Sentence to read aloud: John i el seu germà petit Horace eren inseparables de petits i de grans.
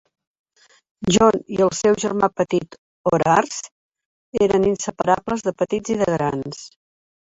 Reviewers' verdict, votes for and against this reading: rejected, 0, 2